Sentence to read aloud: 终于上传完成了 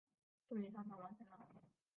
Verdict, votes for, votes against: rejected, 0, 3